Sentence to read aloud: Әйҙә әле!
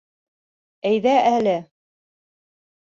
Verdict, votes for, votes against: accepted, 2, 0